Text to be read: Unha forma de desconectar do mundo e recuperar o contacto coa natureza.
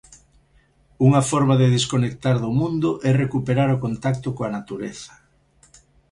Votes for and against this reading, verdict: 2, 0, accepted